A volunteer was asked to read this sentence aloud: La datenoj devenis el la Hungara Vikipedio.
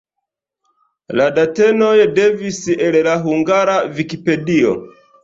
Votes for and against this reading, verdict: 1, 2, rejected